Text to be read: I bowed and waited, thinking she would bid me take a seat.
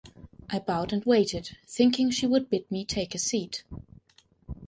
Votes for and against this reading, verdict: 2, 0, accepted